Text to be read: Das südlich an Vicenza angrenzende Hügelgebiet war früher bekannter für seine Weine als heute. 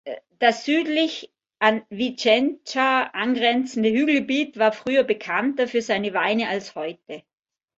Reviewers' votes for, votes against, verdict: 1, 2, rejected